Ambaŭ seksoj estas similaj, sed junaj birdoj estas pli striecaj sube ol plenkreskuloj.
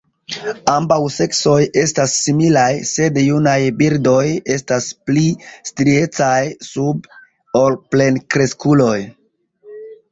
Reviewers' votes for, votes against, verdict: 2, 0, accepted